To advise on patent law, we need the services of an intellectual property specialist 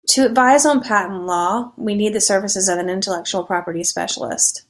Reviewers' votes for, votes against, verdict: 2, 0, accepted